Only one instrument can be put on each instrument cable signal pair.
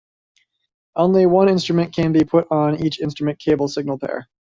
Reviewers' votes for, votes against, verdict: 2, 0, accepted